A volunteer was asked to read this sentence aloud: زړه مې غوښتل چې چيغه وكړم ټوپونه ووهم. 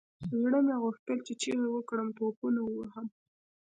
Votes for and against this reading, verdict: 2, 0, accepted